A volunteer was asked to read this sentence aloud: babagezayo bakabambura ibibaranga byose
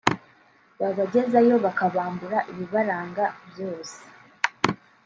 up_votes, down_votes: 2, 0